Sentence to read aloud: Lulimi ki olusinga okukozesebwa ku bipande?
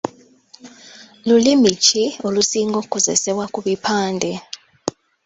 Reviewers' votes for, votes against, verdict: 3, 0, accepted